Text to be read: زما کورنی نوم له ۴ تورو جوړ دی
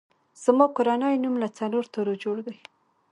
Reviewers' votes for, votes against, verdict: 0, 2, rejected